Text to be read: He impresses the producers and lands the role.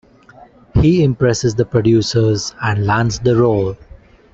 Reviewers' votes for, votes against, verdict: 2, 0, accepted